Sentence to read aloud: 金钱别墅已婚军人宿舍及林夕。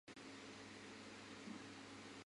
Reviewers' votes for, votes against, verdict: 2, 6, rejected